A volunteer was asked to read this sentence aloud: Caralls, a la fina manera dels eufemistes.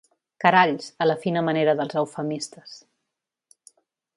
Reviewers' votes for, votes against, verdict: 2, 0, accepted